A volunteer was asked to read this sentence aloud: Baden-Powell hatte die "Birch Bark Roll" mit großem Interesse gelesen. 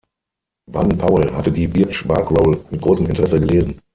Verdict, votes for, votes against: rejected, 0, 6